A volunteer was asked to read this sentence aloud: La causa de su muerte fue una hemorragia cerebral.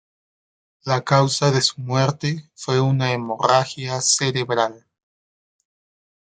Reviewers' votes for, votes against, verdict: 2, 0, accepted